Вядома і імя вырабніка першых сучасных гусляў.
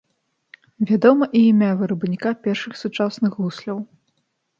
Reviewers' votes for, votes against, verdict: 3, 0, accepted